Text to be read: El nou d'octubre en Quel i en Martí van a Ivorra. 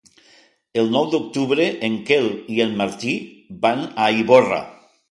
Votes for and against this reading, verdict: 3, 0, accepted